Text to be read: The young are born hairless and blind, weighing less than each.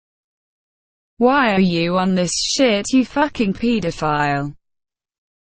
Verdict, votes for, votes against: rejected, 0, 2